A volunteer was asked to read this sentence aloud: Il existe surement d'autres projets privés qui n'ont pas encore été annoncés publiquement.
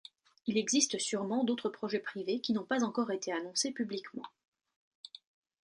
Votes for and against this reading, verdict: 2, 0, accepted